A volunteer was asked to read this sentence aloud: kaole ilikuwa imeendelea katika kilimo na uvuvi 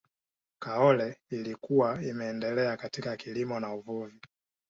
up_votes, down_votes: 2, 0